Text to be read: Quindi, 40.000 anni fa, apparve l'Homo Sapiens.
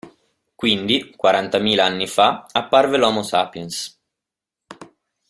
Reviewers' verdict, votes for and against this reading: rejected, 0, 2